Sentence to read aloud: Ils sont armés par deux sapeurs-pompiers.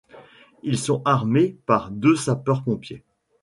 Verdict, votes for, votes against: accepted, 3, 0